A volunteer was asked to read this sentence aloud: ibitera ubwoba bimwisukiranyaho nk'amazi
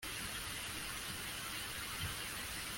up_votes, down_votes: 0, 2